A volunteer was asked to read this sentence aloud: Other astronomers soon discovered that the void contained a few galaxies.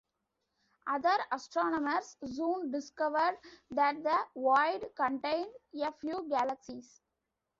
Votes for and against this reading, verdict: 2, 1, accepted